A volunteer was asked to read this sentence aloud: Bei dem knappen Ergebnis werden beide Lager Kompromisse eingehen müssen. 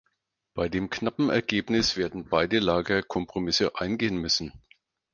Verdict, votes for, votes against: accepted, 4, 0